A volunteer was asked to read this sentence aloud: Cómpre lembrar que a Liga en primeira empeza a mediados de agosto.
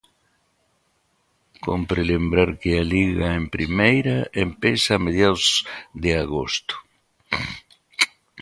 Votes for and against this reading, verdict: 2, 0, accepted